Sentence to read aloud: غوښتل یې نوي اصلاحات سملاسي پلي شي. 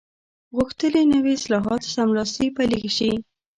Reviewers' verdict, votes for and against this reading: rejected, 1, 2